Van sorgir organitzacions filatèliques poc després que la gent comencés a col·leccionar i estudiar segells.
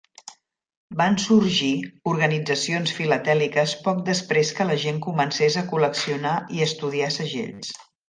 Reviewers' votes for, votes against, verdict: 2, 0, accepted